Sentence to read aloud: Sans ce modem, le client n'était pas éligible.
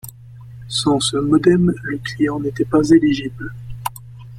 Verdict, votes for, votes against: rejected, 1, 2